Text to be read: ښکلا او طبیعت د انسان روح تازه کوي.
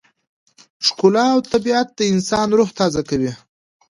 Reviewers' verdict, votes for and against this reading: accepted, 2, 0